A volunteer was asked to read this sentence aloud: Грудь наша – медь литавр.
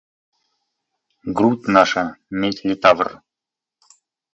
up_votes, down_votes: 2, 0